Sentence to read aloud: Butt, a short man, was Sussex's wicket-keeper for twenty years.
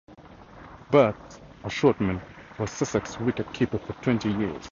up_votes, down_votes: 2, 0